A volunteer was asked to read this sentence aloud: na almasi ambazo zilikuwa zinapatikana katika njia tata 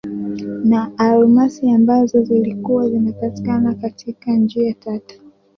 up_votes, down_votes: 2, 1